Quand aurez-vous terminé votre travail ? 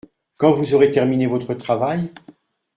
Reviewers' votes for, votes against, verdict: 1, 2, rejected